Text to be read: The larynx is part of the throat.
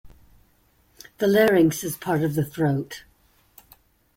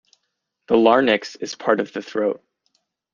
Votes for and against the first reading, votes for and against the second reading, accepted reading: 2, 0, 1, 2, first